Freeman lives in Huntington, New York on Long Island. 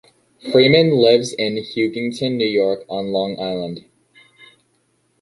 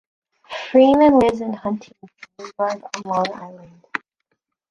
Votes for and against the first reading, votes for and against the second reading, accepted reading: 2, 0, 0, 2, first